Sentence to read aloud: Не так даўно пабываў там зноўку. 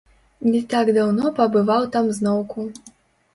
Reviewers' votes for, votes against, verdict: 0, 2, rejected